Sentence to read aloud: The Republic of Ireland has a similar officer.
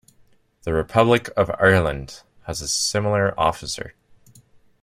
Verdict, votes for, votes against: accepted, 2, 0